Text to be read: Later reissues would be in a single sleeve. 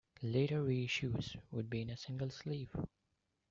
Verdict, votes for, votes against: accepted, 2, 0